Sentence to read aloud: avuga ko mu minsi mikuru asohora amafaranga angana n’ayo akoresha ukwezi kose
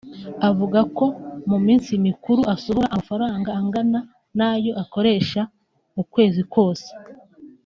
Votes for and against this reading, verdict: 2, 0, accepted